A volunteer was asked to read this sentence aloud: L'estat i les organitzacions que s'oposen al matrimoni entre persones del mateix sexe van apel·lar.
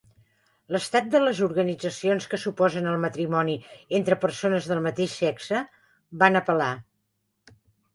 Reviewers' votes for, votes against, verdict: 1, 3, rejected